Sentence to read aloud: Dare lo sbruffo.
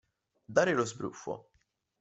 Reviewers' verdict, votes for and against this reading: accepted, 2, 0